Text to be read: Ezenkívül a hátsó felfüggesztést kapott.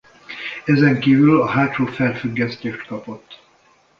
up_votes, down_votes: 2, 1